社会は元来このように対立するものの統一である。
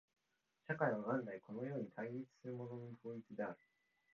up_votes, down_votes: 2, 0